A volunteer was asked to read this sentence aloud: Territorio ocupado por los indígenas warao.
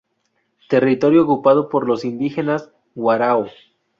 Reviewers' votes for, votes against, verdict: 2, 0, accepted